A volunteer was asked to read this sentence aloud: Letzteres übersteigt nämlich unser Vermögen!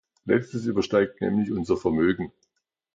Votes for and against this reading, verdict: 0, 2, rejected